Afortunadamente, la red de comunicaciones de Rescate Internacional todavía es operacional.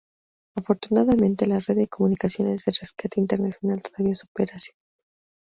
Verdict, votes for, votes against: accepted, 2, 0